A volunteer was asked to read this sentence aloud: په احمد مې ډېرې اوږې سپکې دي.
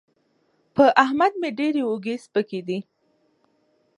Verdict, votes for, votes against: accepted, 2, 0